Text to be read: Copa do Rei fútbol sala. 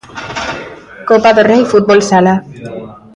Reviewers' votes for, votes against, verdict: 2, 1, accepted